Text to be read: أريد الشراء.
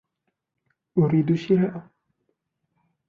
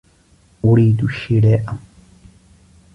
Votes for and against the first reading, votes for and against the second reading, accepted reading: 0, 2, 2, 0, second